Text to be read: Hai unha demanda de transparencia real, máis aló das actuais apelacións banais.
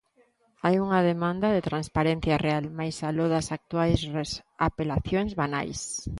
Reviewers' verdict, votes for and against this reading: rejected, 1, 2